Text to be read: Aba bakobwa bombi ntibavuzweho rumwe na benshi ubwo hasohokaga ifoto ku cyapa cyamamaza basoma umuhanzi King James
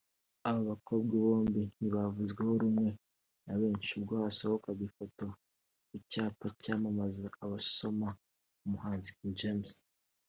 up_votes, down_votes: 2, 0